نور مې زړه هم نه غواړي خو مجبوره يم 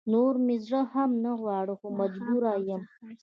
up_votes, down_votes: 2, 1